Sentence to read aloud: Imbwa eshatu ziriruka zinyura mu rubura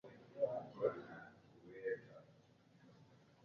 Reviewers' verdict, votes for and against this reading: rejected, 0, 2